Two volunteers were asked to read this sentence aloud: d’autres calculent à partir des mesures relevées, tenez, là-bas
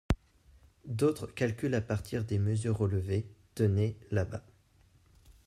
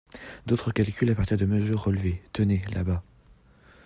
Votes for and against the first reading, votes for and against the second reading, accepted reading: 2, 0, 1, 2, first